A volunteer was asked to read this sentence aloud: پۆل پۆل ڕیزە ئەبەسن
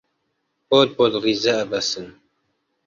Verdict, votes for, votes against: accepted, 2, 1